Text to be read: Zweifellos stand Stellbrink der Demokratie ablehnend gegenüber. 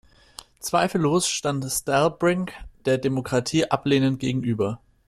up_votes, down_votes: 2, 0